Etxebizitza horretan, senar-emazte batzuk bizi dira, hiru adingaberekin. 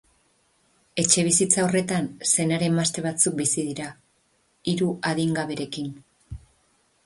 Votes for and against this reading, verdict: 4, 0, accepted